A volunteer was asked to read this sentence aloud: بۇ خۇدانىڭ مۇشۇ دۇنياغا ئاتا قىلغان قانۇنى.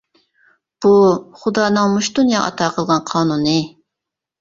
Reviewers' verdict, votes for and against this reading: rejected, 1, 2